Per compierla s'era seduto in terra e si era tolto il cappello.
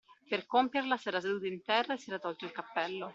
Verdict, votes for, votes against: accepted, 2, 0